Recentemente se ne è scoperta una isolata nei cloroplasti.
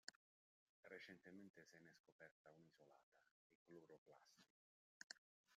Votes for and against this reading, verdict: 0, 2, rejected